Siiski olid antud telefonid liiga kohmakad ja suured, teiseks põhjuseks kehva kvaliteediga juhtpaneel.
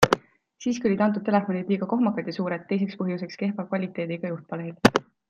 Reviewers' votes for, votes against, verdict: 2, 0, accepted